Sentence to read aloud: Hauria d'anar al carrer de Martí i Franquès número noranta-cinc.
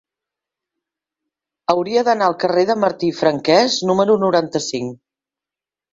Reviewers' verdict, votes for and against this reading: accepted, 4, 0